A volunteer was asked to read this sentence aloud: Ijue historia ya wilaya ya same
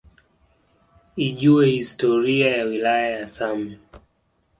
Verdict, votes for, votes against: accepted, 2, 0